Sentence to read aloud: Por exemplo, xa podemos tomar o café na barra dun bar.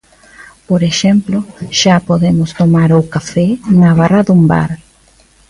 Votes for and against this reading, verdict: 2, 0, accepted